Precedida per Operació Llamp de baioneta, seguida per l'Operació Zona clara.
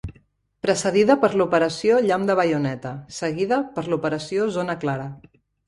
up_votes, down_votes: 1, 2